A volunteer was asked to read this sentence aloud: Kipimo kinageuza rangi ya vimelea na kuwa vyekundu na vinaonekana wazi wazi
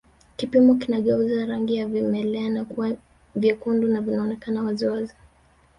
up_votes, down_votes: 2, 1